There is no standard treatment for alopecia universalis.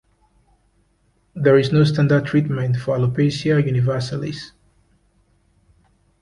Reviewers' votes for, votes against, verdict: 2, 0, accepted